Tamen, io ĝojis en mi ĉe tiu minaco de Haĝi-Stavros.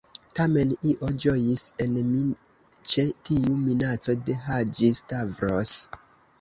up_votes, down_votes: 0, 2